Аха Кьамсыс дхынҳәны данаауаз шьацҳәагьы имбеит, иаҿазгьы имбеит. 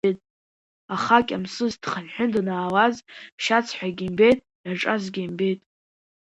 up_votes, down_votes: 2, 0